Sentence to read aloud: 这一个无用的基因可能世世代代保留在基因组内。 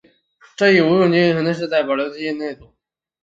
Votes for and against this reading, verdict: 0, 3, rejected